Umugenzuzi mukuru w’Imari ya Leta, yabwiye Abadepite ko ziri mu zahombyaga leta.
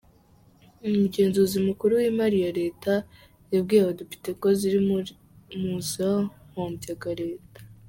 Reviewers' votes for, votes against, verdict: 0, 2, rejected